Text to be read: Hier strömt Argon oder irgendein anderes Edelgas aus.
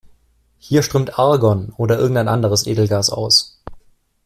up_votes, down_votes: 2, 0